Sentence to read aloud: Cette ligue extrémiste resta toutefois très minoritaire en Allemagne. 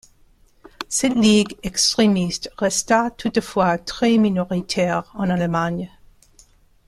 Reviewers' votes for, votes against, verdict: 2, 1, accepted